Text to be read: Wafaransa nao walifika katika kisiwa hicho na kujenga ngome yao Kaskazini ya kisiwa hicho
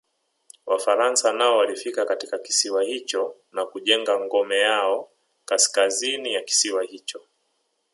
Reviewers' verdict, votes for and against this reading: accepted, 5, 0